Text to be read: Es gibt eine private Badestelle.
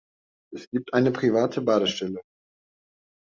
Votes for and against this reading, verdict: 2, 0, accepted